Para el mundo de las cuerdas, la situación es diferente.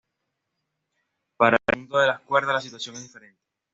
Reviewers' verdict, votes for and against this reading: rejected, 1, 2